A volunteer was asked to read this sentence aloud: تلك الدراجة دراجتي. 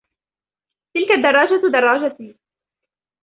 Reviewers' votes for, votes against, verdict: 2, 0, accepted